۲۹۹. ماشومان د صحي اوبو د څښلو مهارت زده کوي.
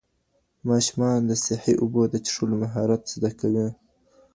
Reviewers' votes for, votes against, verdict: 0, 2, rejected